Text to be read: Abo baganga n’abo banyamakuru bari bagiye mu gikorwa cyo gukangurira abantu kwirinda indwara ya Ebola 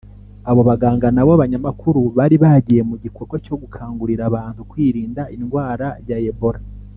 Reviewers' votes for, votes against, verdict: 1, 2, rejected